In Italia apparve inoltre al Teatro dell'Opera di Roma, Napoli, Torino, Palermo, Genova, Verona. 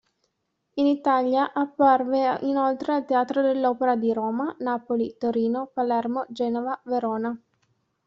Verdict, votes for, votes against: accepted, 2, 1